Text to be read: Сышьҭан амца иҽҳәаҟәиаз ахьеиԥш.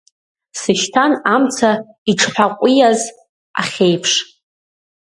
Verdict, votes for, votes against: rejected, 0, 2